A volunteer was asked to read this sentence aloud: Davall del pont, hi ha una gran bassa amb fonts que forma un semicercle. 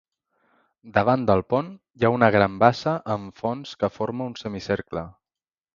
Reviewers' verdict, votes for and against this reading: rejected, 0, 2